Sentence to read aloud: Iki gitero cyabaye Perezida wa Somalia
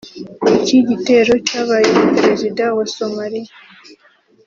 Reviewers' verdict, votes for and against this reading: accepted, 2, 0